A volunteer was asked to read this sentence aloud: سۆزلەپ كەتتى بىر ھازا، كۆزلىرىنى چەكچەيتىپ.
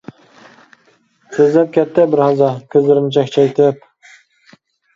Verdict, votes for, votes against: accepted, 2, 0